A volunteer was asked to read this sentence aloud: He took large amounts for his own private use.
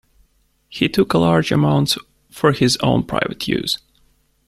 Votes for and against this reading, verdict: 1, 2, rejected